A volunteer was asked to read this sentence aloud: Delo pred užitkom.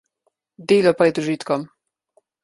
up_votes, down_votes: 2, 0